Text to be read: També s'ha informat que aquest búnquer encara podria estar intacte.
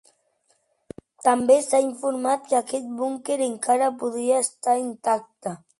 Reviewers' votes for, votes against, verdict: 2, 0, accepted